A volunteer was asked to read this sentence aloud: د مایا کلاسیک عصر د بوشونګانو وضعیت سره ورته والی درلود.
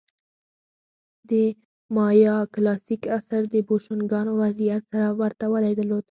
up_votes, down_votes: 4, 2